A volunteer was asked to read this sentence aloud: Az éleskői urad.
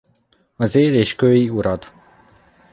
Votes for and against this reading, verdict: 1, 2, rejected